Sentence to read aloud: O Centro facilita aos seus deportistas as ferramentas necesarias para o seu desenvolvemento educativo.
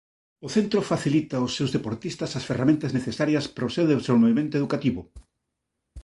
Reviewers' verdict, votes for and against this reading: rejected, 0, 2